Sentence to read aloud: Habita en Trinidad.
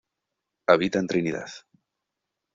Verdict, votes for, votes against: accepted, 2, 0